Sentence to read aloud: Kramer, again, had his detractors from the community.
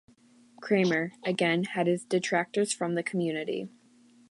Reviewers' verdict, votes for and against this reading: accepted, 3, 0